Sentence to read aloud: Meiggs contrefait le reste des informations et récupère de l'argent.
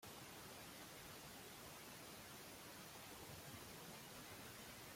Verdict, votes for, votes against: rejected, 0, 2